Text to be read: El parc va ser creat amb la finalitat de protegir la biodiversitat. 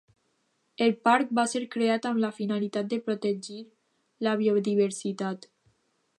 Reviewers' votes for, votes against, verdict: 2, 0, accepted